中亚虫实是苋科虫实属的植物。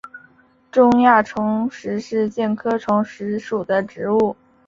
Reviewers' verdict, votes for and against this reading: accepted, 3, 0